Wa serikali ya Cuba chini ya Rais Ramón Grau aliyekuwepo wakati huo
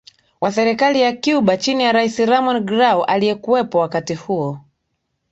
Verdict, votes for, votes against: accepted, 2, 0